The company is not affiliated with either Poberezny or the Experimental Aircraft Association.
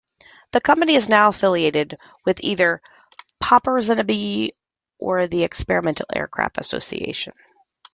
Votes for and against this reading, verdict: 1, 2, rejected